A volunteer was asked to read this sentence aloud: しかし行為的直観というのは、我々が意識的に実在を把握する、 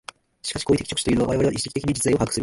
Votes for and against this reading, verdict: 1, 2, rejected